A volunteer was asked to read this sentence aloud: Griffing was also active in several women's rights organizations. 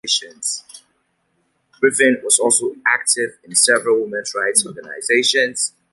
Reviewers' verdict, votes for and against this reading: rejected, 0, 2